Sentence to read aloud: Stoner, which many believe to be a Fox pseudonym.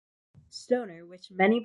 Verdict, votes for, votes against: rejected, 0, 2